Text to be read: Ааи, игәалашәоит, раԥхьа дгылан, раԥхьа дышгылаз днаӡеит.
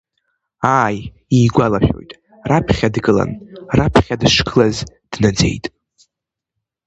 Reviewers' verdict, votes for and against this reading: accepted, 2, 0